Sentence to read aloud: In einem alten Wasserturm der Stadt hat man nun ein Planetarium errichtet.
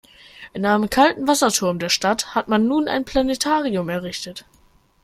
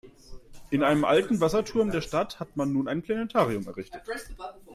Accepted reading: second